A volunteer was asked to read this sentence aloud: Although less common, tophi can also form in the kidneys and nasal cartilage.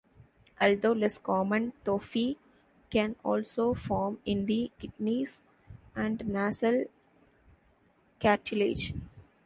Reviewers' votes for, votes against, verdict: 0, 2, rejected